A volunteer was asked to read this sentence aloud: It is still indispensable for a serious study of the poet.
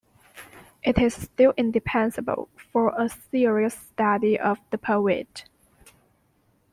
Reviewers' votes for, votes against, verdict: 0, 2, rejected